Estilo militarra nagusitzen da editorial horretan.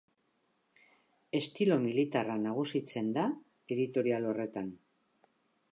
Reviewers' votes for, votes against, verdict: 2, 0, accepted